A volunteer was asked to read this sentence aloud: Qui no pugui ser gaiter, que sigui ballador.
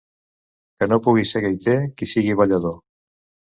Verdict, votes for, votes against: rejected, 1, 2